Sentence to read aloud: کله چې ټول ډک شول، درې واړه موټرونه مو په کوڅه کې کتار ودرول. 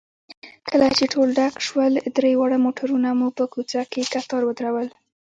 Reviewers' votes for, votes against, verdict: 2, 0, accepted